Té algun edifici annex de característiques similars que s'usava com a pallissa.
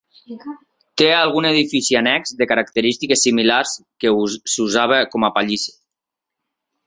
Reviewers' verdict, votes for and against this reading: rejected, 0, 2